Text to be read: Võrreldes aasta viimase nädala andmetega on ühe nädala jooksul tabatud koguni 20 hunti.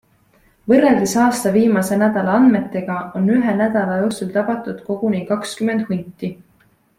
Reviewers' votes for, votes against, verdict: 0, 2, rejected